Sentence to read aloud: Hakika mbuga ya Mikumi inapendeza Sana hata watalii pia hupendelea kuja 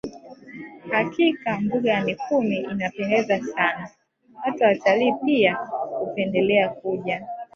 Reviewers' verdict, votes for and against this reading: rejected, 0, 2